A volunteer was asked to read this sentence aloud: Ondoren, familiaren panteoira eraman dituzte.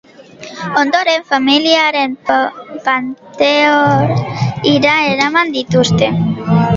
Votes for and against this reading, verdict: 0, 2, rejected